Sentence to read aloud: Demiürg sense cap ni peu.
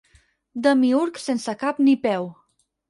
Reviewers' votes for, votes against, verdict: 4, 0, accepted